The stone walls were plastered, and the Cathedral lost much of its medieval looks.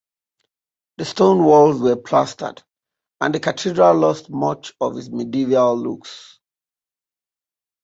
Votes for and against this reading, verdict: 1, 2, rejected